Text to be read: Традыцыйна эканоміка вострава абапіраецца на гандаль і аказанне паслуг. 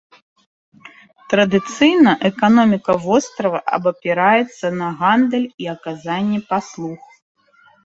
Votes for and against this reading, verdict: 2, 0, accepted